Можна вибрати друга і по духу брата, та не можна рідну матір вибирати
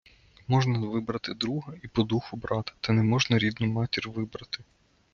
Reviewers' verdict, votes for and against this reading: rejected, 0, 2